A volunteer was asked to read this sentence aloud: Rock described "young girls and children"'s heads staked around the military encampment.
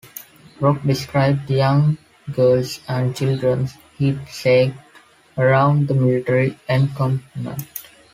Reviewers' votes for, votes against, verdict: 1, 2, rejected